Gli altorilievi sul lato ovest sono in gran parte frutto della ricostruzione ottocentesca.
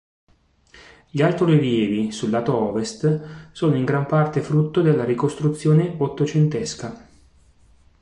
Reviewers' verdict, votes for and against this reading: accepted, 2, 0